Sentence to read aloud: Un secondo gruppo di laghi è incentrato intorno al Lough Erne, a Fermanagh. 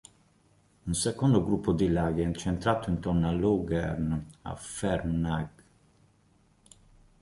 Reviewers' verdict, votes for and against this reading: rejected, 0, 2